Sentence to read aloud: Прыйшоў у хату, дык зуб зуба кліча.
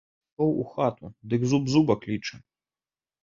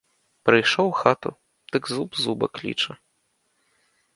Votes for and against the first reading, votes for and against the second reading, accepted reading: 0, 2, 2, 0, second